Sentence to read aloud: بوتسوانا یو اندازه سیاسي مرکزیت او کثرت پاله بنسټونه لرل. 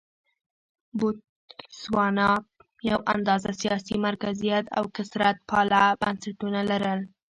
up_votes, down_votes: 0, 2